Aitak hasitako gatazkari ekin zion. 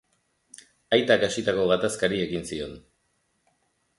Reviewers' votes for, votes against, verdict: 2, 0, accepted